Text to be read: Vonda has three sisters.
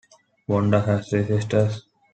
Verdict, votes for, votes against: accepted, 2, 0